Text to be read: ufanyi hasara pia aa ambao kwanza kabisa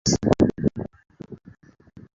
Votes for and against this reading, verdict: 0, 2, rejected